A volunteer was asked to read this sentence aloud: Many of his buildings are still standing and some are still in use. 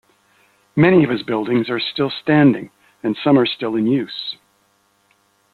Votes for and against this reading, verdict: 2, 0, accepted